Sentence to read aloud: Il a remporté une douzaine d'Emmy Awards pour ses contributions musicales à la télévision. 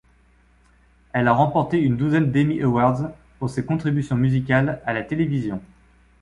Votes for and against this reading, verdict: 1, 2, rejected